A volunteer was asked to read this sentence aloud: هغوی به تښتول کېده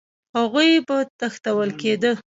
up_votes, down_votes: 1, 2